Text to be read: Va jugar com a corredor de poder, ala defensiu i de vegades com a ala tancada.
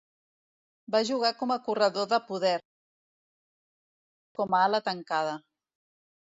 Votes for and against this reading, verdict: 1, 2, rejected